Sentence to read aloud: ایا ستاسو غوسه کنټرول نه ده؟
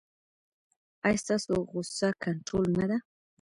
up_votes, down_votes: 1, 2